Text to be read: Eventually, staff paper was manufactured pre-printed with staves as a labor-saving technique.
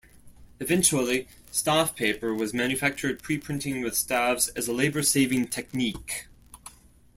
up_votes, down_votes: 1, 2